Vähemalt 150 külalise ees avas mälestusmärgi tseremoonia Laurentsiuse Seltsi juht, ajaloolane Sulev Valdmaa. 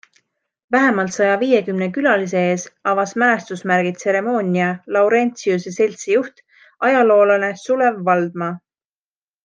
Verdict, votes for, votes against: rejected, 0, 2